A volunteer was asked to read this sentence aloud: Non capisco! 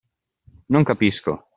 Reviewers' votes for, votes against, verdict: 2, 0, accepted